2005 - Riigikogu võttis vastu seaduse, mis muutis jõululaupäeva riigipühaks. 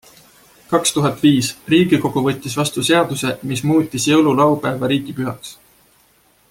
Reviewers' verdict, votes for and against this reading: rejected, 0, 2